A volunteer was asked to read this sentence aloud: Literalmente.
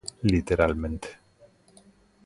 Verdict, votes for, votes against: accepted, 2, 0